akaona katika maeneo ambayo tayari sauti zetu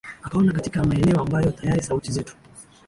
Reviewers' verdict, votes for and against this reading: accepted, 2, 0